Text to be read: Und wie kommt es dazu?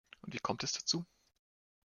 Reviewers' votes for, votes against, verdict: 1, 2, rejected